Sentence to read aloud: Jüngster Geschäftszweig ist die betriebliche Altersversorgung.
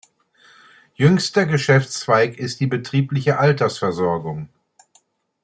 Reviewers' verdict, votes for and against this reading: accepted, 2, 0